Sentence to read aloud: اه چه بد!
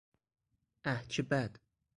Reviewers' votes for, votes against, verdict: 4, 0, accepted